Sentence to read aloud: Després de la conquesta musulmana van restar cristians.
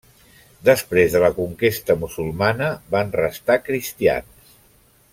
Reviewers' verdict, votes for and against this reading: accepted, 3, 0